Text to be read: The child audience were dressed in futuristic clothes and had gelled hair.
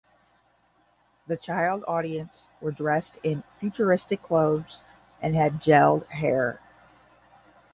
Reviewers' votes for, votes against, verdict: 10, 0, accepted